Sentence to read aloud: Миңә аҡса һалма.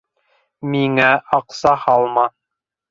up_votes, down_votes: 2, 0